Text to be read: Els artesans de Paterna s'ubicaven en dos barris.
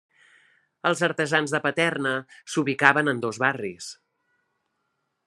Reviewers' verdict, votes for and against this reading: accepted, 3, 0